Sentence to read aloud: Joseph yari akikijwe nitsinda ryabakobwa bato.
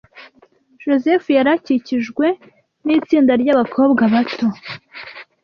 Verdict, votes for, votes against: accepted, 2, 0